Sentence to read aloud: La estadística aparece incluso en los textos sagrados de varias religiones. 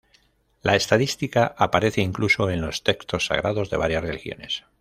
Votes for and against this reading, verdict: 0, 2, rejected